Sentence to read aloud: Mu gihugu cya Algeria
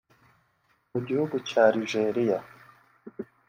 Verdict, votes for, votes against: rejected, 0, 2